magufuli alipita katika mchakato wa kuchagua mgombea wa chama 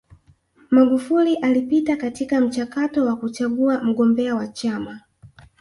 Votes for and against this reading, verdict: 1, 2, rejected